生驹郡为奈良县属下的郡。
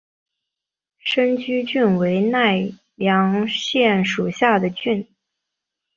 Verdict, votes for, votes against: accepted, 3, 0